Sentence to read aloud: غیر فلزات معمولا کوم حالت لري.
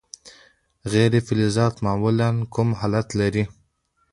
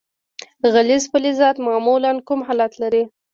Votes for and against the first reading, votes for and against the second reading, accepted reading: 2, 0, 1, 2, first